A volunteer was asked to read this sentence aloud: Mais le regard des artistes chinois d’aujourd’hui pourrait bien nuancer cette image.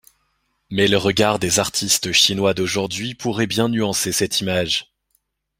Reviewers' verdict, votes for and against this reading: accepted, 2, 0